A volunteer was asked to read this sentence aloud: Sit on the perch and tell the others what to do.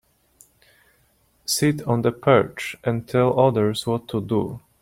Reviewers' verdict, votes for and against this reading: rejected, 0, 2